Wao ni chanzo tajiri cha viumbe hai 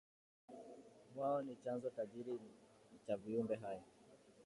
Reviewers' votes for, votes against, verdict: 2, 1, accepted